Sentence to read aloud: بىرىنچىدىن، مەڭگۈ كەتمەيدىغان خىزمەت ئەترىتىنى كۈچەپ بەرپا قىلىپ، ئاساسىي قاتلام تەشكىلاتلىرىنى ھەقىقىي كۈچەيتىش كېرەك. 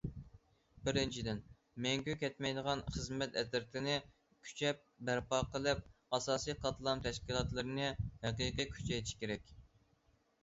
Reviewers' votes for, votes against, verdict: 2, 0, accepted